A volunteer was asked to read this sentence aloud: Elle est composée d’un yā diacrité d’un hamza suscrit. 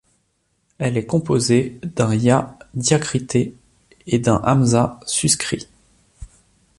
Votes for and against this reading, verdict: 0, 2, rejected